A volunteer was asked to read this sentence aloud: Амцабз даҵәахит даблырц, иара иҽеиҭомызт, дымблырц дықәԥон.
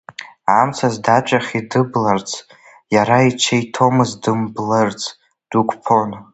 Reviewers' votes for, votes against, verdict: 0, 2, rejected